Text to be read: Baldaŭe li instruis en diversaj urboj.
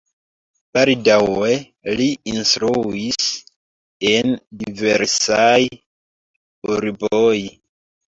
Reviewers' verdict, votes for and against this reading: rejected, 0, 2